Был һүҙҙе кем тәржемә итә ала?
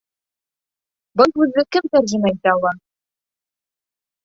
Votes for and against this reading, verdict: 0, 2, rejected